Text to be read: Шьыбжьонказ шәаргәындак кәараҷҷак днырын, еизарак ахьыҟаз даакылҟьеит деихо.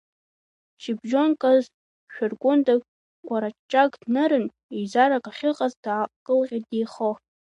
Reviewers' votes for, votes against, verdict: 2, 1, accepted